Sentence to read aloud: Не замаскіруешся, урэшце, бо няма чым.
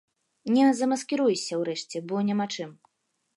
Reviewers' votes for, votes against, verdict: 2, 0, accepted